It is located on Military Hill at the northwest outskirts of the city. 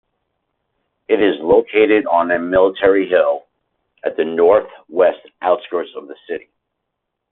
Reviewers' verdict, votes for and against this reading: rejected, 0, 2